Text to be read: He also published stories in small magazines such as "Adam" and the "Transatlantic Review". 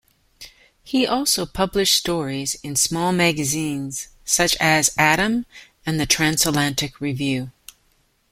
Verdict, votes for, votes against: accepted, 2, 0